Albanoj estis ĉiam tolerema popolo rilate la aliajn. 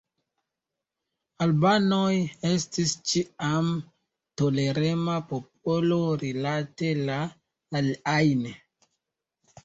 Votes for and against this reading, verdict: 1, 2, rejected